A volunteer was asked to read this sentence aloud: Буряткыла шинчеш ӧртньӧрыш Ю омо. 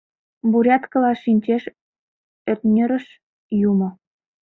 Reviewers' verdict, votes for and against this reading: rejected, 0, 2